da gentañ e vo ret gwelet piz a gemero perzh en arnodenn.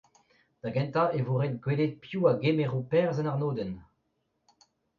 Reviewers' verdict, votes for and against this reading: accepted, 2, 0